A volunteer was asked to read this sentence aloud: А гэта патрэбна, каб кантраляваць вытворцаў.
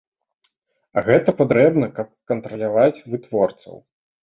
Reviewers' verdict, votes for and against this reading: accepted, 2, 0